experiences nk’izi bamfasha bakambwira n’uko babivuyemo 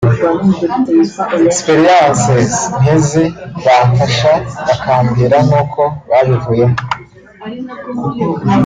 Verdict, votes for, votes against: rejected, 1, 2